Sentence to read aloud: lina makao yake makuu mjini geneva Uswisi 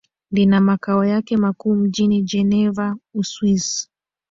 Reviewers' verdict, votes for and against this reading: accepted, 2, 0